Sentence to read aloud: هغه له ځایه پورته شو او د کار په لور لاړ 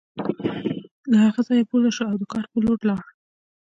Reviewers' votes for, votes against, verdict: 2, 0, accepted